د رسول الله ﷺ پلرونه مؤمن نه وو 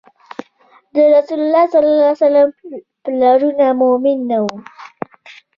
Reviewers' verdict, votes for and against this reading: accepted, 3, 1